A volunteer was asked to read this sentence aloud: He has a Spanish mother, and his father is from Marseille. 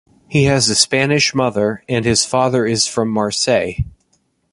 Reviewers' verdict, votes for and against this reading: accepted, 2, 0